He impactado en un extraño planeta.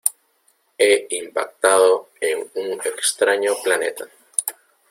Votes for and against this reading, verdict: 1, 2, rejected